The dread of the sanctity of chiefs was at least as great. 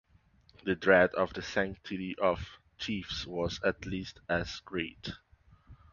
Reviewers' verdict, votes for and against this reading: accepted, 2, 0